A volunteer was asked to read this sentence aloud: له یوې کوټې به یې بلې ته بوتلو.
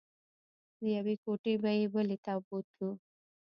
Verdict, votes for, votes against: rejected, 1, 2